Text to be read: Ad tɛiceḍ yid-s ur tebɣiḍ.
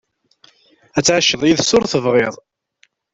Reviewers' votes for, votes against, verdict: 1, 2, rejected